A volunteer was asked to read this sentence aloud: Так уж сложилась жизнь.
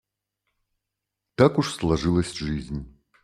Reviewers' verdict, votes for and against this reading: accepted, 2, 0